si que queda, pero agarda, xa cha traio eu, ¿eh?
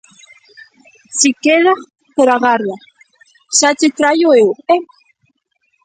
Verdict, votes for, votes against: rejected, 0, 2